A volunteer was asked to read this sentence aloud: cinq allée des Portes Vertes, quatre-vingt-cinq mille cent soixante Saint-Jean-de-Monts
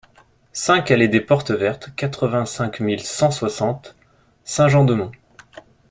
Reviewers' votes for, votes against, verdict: 2, 0, accepted